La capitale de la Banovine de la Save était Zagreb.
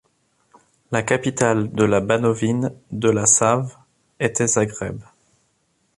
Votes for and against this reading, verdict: 4, 0, accepted